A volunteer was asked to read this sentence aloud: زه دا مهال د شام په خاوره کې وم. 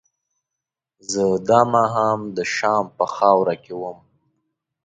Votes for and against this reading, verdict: 2, 1, accepted